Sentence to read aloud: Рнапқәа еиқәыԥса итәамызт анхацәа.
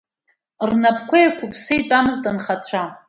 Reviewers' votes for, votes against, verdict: 2, 0, accepted